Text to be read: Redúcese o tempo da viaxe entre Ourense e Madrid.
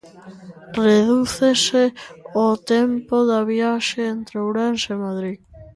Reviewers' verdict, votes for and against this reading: accepted, 2, 0